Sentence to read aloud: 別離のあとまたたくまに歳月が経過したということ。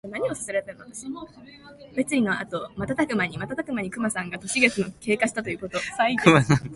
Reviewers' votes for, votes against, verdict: 0, 2, rejected